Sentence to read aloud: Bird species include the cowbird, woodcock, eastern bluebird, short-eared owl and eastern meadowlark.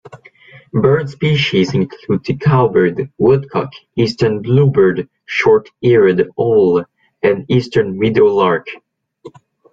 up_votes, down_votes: 1, 2